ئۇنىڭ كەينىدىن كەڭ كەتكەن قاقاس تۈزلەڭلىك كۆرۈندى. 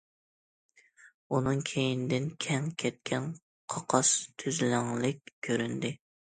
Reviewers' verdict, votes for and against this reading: accepted, 2, 0